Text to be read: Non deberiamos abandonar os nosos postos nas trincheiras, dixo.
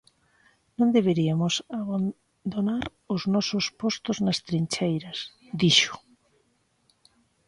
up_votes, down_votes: 0, 2